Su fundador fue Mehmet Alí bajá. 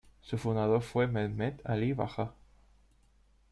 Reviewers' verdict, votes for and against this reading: rejected, 1, 2